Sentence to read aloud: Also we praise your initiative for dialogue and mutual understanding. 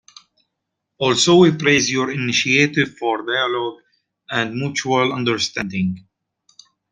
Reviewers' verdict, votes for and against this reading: accepted, 2, 0